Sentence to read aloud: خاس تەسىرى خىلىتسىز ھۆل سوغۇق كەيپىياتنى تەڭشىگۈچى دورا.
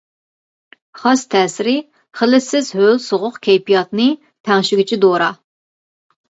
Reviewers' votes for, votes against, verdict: 2, 0, accepted